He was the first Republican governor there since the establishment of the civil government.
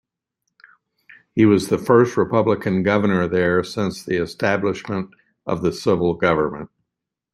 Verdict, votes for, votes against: accepted, 2, 0